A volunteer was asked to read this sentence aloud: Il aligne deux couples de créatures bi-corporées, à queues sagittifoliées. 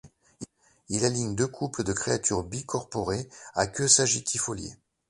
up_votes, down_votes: 0, 2